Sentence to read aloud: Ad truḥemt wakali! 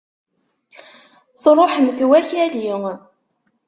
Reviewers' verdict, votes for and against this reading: rejected, 0, 2